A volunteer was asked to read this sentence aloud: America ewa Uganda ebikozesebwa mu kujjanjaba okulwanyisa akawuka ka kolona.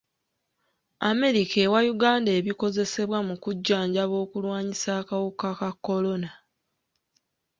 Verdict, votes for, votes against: accepted, 2, 1